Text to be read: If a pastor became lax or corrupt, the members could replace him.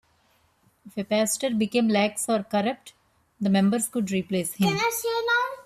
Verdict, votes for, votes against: rejected, 0, 2